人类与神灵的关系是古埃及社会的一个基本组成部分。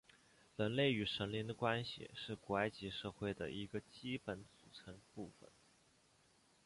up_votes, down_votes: 1, 2